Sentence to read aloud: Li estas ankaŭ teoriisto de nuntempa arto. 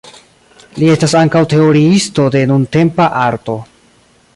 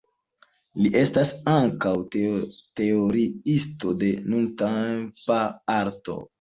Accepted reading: first